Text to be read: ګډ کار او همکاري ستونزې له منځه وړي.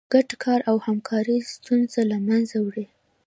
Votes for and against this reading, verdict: 2, 0, accepted